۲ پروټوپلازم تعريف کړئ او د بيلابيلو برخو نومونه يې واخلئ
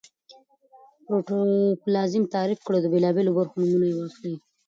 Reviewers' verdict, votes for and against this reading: rejected, 0, 2